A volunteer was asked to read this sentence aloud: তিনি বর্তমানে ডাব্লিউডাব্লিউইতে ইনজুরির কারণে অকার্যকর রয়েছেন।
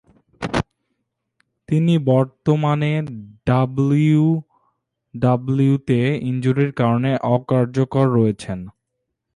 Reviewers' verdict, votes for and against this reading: rejected, 1, 2